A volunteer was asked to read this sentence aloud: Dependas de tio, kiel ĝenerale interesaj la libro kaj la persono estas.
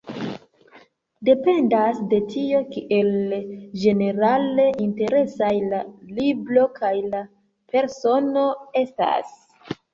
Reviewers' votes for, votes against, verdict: 0, 2, rejected